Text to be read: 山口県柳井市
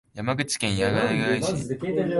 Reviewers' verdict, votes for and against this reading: rejected, 2, 3